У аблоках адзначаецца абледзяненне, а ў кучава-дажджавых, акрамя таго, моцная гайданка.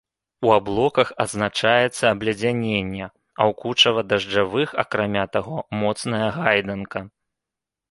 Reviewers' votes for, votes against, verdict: 2, 1, accepted